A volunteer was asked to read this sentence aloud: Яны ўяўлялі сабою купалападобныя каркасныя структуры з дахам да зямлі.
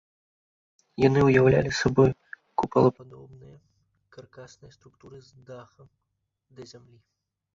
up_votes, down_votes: 2, 3